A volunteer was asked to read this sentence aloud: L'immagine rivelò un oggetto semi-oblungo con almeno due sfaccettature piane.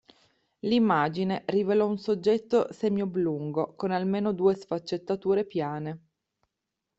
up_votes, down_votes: 2, 1